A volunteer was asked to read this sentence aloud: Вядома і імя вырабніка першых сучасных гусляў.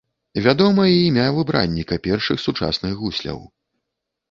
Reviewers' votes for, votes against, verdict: 1, 2, rejected